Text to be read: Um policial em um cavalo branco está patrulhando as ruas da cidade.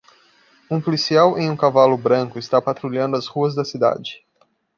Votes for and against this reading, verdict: 2, 0, accepted